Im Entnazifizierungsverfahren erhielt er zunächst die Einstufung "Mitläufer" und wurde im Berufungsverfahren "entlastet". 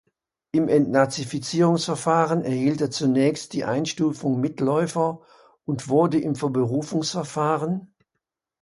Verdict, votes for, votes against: rejected, 0, 2